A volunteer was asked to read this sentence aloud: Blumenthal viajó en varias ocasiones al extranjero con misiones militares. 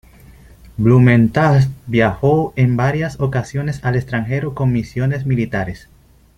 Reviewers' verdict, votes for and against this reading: accepted, 3, 1